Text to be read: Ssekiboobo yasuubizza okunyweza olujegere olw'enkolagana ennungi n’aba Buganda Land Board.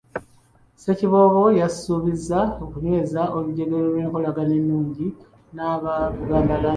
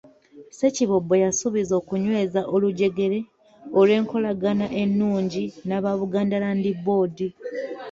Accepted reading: second